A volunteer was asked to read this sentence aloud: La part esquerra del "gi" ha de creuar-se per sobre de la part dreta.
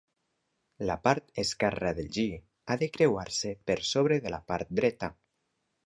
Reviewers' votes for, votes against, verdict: 3, 0, accepted